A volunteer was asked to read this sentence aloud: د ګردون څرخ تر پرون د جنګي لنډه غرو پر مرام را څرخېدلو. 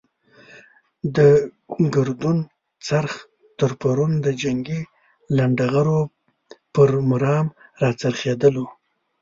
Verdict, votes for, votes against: accepted, 2, 0